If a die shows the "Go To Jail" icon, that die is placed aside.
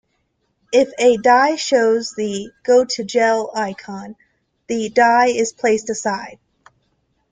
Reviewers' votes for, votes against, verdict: 1, 2, rejected